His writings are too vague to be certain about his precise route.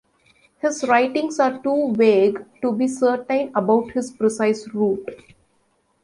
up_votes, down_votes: 2, 1